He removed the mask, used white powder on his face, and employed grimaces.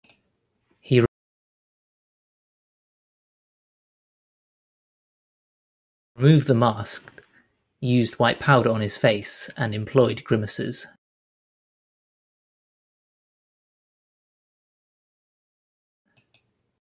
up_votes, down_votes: 1, 2